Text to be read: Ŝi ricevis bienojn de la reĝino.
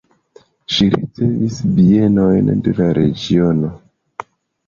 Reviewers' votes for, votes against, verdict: 0, 2, rejected